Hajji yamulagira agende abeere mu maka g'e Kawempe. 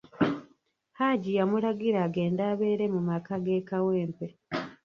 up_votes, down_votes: 0, 2